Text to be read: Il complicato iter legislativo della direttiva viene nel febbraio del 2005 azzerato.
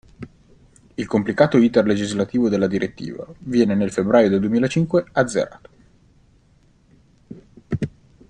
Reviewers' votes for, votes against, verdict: 0, 2, rejected